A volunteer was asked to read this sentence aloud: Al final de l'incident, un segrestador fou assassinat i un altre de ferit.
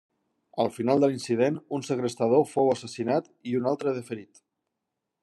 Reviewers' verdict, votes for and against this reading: accepted, 3, 0